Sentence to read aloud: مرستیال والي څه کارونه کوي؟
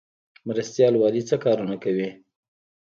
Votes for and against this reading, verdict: 0, 2, rejected